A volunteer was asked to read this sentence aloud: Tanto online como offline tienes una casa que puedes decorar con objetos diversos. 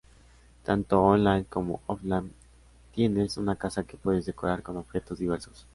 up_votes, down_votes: 3, 0